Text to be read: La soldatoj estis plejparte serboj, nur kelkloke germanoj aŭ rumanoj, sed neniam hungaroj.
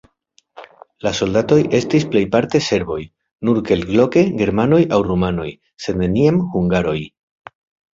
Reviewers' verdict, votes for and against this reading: accepted, 2, 0